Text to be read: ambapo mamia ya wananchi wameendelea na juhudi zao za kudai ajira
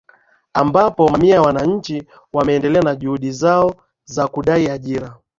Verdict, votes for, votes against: accepted, 2, 0